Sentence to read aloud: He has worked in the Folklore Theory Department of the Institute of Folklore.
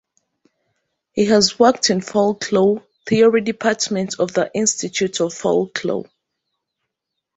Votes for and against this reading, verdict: 0, 3, rejected